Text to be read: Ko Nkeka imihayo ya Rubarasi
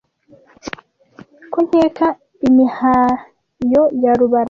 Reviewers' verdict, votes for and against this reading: rejected, 0, 2